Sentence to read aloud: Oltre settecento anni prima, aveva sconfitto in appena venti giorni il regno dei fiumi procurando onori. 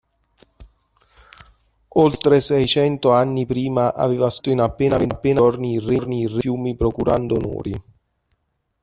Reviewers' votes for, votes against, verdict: 0, 2, rejected